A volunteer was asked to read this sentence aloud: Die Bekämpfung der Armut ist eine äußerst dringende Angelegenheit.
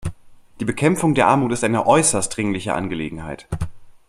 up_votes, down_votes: 1, 2